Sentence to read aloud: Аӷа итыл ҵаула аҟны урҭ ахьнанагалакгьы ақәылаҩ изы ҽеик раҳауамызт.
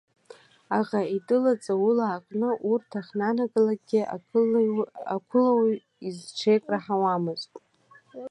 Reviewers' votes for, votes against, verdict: 1, 2, rejected